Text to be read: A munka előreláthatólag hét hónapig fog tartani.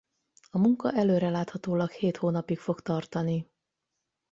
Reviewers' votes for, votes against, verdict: 8, 0, accepted